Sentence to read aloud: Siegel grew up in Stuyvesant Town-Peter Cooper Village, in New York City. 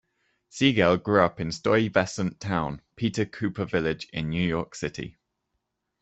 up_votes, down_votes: 2, 0